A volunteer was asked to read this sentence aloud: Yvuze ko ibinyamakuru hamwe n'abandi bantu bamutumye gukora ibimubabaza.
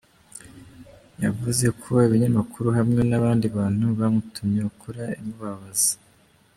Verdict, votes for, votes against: rejected, 1, 2